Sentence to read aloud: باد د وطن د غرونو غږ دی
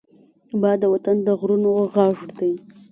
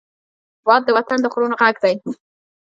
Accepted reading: first